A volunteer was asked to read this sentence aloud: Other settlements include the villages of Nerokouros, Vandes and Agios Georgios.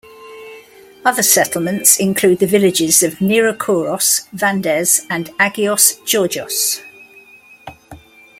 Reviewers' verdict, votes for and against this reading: accepted, 2, 1